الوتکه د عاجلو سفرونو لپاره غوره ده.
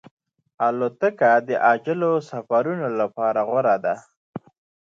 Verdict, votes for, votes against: accepted, 2, 0